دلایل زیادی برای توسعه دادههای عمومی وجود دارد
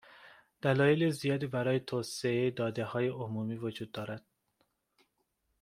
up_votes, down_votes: 2, 0